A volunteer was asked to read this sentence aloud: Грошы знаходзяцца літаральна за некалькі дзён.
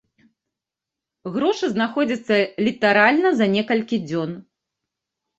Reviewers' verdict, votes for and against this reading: accepted, 2, 0